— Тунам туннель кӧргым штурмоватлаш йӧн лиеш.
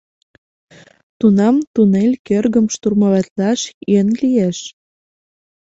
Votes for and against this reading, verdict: 2, 0, accepted